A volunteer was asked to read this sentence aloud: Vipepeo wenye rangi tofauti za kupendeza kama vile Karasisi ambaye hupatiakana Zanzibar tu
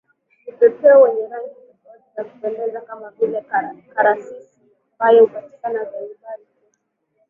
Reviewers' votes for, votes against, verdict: 0, 2, rejected